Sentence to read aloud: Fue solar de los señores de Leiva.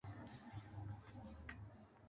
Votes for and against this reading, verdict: 0, 2, rejected